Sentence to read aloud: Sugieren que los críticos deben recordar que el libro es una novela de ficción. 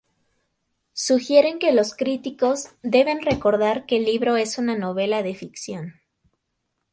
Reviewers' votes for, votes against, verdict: 4, 0, accepted